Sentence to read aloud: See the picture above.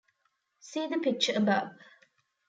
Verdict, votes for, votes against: accepted, 2, 0